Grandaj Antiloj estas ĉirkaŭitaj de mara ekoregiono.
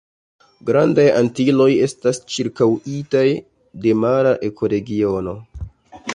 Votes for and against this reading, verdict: 2, 1, accepted